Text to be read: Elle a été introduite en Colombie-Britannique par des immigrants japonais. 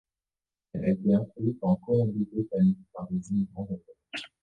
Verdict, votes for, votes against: rejected, 0, 2